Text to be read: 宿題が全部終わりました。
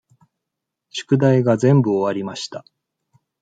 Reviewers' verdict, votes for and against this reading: accepted, 2, 0